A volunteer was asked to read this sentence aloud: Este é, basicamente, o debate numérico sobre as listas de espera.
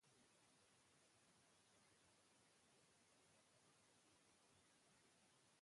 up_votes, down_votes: 0, 2